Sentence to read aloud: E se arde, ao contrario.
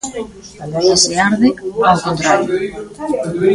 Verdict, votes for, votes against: rejected, 0, 2